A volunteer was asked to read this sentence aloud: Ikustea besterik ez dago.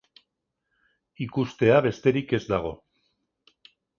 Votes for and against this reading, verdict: 2, 0, accepted